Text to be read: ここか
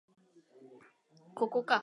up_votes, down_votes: 3, 0